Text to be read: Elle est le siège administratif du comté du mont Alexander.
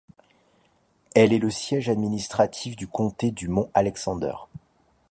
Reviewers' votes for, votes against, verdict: 2, 0, accepted